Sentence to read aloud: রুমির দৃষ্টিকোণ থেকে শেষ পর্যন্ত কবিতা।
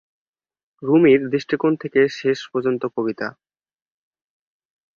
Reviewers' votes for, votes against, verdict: 2, 0, accepted